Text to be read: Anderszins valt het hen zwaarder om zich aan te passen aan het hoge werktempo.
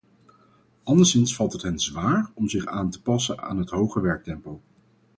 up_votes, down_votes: 0, 4